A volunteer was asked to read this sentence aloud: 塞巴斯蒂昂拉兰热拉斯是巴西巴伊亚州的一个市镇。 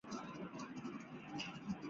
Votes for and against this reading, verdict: 0, 2, rejected